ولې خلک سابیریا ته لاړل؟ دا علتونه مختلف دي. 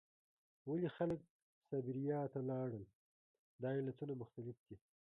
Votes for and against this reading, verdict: 1, 2, rejected